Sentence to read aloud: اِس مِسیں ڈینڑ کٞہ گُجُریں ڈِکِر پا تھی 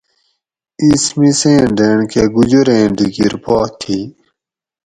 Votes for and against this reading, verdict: 4, 0, accepted